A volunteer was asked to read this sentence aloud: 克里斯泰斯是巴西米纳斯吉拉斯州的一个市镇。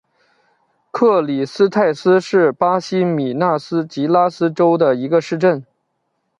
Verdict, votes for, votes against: accepted, 2, 0